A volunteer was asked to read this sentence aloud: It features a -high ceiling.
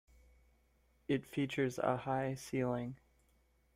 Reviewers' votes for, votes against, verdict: 0, 2, rejected